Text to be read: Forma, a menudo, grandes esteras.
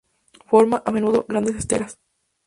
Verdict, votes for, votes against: accepted, 2, 0